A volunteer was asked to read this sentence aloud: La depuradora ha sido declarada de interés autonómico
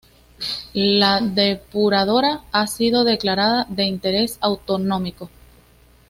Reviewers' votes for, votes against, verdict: 2, 0, accepted